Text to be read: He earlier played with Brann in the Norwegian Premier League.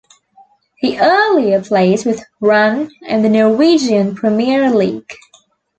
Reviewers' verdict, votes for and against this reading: accepted, 2, 0